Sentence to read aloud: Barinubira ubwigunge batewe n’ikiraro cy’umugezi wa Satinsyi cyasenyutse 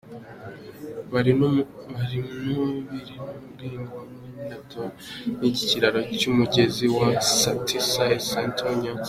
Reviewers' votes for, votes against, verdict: 0, 2, rejected